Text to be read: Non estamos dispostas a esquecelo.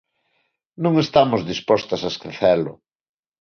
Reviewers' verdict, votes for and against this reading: accepted, 2, 0